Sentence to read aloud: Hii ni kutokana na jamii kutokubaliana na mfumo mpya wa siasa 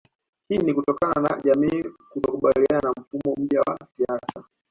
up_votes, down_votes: 2, 1